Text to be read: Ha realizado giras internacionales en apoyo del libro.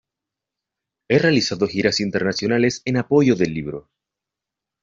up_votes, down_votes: 0, 2